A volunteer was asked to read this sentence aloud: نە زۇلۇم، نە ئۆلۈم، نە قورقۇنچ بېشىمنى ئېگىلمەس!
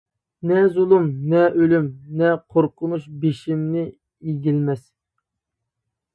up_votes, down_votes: 1, 2